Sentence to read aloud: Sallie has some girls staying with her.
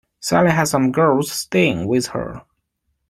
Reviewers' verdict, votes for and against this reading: accepted, 2, 0